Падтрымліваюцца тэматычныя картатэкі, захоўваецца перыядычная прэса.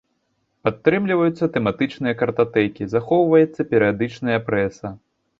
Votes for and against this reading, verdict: 2, 0, accepted